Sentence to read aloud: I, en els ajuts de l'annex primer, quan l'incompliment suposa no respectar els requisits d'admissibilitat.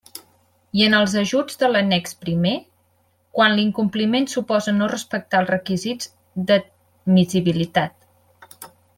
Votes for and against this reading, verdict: 0, 2, rejected